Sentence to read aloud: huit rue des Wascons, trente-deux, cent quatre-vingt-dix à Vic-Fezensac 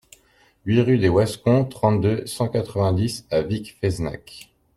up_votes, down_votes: 1, 2